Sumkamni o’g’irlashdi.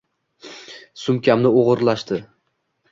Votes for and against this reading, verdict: 2, 0, accepted